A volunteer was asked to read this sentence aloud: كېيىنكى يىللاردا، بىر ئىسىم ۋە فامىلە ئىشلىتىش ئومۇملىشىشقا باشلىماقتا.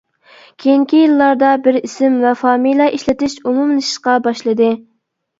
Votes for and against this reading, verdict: 0, 2, rejected